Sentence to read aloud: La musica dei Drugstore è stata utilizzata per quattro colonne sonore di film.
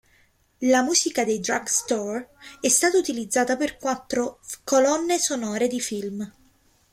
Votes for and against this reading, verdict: 2, 0, accepted